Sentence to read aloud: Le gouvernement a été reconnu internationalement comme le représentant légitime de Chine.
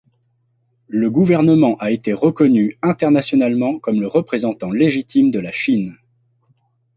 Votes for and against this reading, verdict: 1, 2, rejected